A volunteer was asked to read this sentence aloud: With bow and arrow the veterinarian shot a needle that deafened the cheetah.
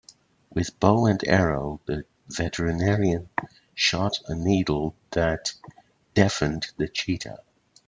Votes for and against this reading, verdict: 2, 0, accepted